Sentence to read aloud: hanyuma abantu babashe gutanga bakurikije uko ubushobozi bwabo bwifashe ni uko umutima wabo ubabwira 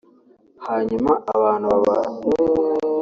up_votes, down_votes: 0, 2